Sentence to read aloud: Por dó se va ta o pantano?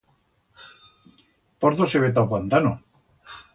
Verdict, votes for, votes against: rejected, 1, 2